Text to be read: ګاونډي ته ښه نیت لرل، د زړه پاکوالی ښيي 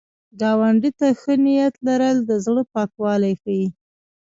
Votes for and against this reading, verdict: 1, 2, rejected